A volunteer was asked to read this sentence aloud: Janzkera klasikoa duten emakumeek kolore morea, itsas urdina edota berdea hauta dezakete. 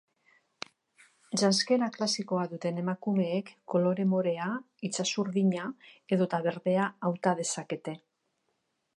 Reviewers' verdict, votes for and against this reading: accepted, 2, 0